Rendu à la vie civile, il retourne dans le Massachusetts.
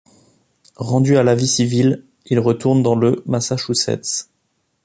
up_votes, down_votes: 2, 0